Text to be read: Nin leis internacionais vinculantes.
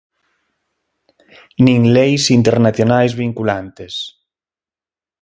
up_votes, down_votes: 21, 0